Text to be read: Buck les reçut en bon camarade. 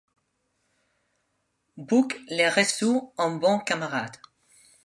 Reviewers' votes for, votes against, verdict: 0, 2, rejected